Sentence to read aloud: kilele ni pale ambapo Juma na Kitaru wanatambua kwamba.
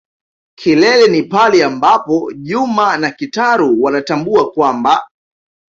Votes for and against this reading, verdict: 2, 0, accepted